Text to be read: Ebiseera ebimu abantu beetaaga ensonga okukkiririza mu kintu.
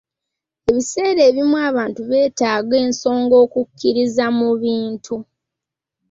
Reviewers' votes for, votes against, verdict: 1, 2, rejected